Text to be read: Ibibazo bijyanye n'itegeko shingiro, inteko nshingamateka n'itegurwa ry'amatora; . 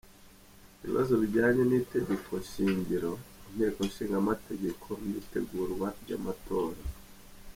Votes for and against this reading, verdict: 2, 1, accepted